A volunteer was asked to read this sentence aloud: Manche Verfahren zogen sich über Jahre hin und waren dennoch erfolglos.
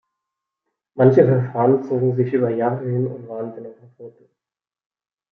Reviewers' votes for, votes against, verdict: 2, 1, accepted